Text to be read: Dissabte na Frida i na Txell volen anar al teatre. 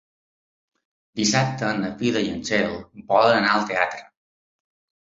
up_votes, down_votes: 2, 0